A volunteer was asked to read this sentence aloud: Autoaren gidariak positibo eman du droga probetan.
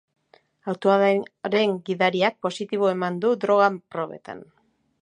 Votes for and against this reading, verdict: 0, 3, rejected